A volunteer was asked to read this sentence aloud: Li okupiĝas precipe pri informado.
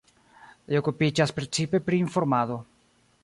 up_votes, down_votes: 2, 0